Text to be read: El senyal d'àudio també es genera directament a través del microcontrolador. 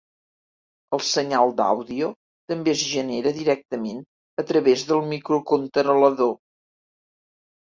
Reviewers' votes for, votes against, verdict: 1, 2, rejected